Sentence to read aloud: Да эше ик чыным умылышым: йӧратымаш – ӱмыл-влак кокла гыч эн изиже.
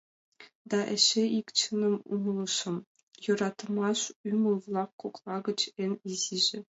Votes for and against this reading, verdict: 2, 0, accepted